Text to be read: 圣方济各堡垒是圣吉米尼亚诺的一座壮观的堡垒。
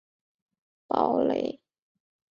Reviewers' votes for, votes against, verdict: 0, 2, rejected